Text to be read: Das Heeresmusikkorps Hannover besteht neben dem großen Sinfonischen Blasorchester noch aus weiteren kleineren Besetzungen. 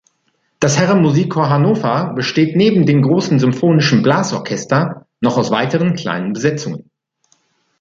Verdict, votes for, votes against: rejected, 0, 2